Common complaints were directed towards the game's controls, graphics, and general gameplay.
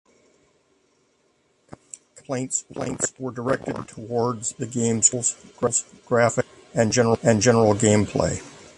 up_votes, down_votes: 1, 2